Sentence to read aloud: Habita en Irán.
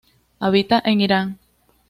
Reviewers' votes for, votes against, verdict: 2, 0, accepted